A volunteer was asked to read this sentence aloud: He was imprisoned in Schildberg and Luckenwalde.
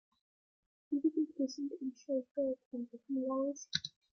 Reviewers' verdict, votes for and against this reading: rejected, 0, 2